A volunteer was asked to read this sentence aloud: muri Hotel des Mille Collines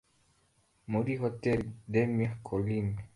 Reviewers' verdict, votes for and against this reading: accepted, 2, 0